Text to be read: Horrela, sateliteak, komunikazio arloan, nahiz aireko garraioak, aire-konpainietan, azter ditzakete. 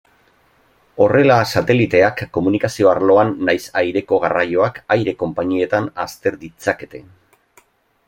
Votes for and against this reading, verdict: 2, 0, accepted